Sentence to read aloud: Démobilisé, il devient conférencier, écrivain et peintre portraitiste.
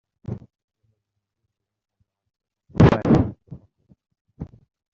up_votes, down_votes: 0, 2